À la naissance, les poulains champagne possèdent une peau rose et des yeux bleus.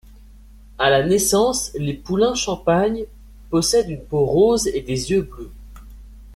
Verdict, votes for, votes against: accepted, 2, 0